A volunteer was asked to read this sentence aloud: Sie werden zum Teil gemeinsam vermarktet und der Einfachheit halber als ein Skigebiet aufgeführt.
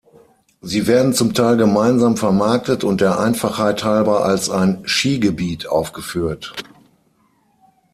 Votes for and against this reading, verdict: 6, 0, accepted